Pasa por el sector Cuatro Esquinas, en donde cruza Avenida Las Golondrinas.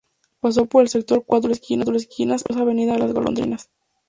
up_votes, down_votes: 0, 2